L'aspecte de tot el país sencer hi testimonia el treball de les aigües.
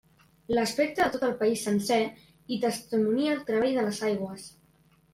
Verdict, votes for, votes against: accepted, 2, 0